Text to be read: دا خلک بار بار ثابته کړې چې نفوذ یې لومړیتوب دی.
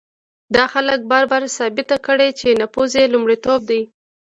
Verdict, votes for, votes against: rejected, 1, 2